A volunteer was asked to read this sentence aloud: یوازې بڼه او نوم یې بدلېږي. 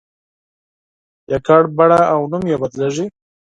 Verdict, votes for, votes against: rejected, 0, 4